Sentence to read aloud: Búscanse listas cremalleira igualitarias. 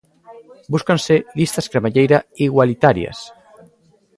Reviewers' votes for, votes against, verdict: 0, 2, rejected